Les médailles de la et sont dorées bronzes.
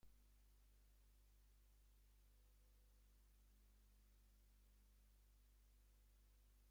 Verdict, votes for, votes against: rejected, 0, 2